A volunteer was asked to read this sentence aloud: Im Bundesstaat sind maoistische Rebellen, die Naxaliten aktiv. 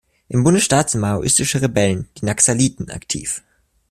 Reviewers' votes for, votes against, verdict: 2, 0, accepted